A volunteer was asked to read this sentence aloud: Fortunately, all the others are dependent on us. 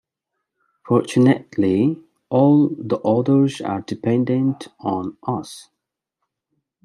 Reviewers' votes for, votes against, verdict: 2, 0, accepted